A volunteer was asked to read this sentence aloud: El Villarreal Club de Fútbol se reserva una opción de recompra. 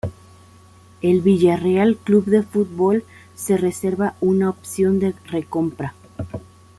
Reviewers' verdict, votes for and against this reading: accepted, 2, 1